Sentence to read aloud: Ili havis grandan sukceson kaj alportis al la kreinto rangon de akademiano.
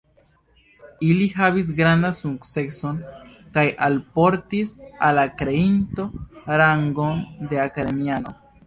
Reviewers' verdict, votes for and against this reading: accepted, 2, 0